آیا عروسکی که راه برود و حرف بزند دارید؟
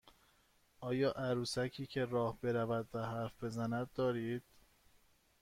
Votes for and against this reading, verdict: 2, 0, accepted